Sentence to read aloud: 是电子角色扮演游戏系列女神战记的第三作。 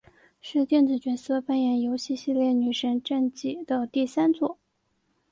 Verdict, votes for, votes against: accepted, 2, 0